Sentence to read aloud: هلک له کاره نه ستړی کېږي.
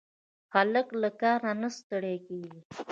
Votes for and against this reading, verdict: 0, 2, rejected